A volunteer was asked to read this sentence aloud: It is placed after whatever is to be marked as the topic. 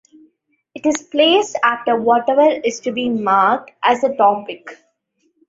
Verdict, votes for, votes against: accepted, 2, 0